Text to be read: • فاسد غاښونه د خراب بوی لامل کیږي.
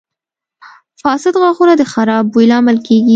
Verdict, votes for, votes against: accepted, 2, 0